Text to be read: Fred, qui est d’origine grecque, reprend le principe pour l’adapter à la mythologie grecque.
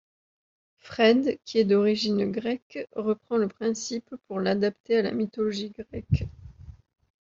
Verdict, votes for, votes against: rejected, 1, 2